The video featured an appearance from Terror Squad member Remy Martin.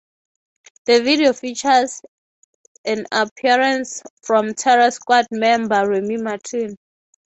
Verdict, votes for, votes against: rejected, 0, 3